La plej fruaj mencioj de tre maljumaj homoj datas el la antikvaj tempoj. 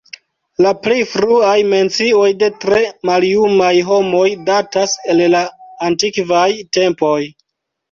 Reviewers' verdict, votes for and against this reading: accepted, 2, 0